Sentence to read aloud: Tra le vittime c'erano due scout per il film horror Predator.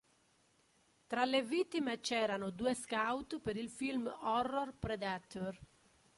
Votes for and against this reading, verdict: 0, 2, rejected